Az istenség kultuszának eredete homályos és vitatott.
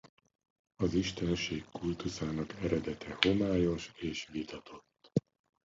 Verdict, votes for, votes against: rejected, 1, 2